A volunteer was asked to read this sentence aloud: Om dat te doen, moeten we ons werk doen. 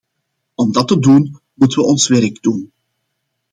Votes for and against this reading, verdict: 2, 0, accepted